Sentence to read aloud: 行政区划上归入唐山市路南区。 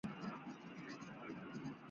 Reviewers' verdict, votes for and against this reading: rejected, 0, 2